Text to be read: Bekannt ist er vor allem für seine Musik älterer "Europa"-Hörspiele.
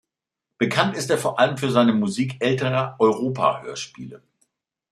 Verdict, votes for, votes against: accepted, 2, 0